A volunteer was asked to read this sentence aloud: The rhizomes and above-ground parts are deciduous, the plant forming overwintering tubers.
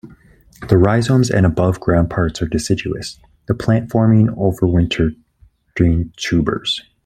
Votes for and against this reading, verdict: 1, 2, rejected